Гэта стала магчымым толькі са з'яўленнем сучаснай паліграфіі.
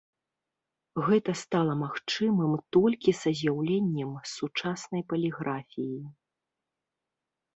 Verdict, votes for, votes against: rejected, 1, 2